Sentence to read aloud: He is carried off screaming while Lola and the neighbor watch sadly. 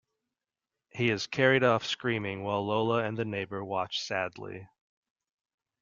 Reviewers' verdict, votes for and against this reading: accepted, 2, 0